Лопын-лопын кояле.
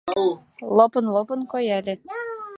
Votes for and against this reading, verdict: 2, 3, rejected